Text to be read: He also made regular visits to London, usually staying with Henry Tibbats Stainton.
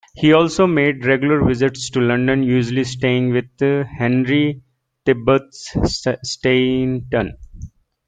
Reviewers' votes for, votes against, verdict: 0, 2, rejected